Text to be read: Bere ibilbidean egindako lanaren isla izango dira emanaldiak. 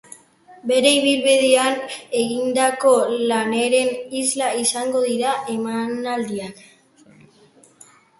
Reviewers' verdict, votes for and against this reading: rejected, 0, 2